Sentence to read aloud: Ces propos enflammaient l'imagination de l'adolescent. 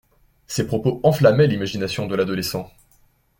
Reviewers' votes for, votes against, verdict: 2, 0, accepted